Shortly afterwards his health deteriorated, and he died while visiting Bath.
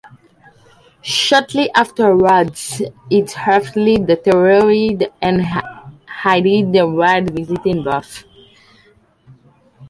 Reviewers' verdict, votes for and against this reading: rejected, 0, 2